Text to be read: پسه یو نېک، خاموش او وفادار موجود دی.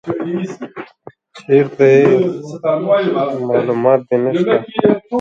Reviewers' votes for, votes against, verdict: 1, 4, rejected